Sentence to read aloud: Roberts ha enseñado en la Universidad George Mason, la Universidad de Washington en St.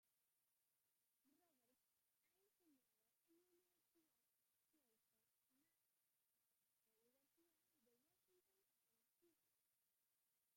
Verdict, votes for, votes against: rejected, 0, 2